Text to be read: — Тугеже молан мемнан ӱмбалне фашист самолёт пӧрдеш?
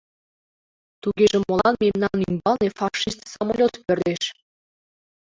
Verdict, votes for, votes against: accepted, 2, 0